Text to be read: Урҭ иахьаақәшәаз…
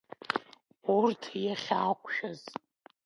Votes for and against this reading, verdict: 1, 2, rejected